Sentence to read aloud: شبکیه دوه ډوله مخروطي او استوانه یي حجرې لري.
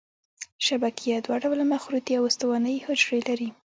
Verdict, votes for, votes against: accepted, 2, 0